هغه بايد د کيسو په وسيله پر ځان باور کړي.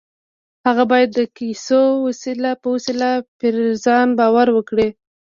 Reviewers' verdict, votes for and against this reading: rejected, 1, 2